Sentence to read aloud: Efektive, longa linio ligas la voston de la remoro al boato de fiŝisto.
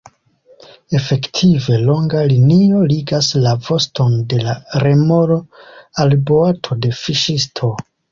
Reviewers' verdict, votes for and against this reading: accepted, 2, 0